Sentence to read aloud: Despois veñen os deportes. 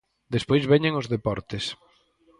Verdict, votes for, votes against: accepted, 4, 0